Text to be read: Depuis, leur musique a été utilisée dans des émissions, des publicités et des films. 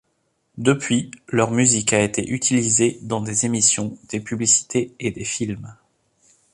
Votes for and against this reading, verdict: 2, 0, accepted